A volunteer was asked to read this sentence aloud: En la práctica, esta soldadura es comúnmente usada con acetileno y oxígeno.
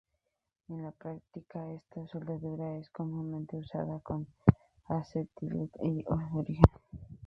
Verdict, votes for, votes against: rejected, 0, 2